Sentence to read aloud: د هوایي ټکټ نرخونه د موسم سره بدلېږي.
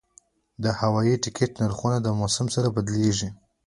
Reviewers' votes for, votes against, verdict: 2, 0, accepted